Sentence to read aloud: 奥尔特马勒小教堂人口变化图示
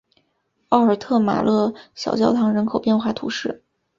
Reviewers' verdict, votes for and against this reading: accepted, 2, 0